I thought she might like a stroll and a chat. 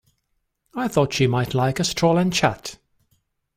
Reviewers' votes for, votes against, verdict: 0, 2, rejected